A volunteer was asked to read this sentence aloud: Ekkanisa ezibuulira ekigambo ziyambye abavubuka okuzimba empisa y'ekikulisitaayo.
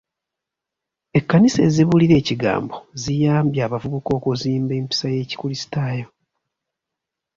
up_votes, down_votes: 2, 0